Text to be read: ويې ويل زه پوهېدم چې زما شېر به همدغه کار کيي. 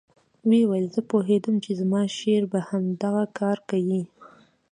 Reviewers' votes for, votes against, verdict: 2, 1, accepted